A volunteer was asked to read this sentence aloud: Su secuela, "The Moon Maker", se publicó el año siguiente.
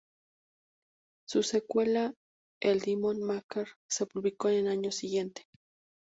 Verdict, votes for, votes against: rejected, 0, 2